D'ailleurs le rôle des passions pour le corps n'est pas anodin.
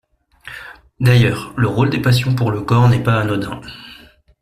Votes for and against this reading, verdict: 2, 0, accepted